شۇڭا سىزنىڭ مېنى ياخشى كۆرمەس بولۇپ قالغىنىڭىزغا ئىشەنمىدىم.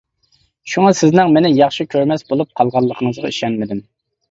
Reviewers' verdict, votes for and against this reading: rejected, 1, 2